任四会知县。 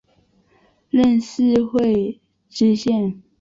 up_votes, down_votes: 6, 0